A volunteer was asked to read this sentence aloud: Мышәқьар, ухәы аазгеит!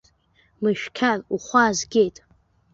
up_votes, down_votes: 2, 0